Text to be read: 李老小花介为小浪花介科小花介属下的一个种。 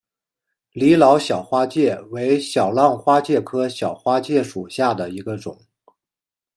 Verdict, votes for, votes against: accepted, 2, 0